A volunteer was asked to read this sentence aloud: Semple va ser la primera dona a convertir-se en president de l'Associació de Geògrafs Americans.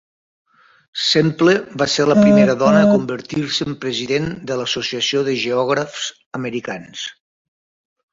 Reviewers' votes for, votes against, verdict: 0, 3, rejected